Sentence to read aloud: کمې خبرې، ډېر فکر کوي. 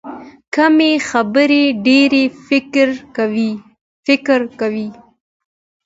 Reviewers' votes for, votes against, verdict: 2, 1, accepted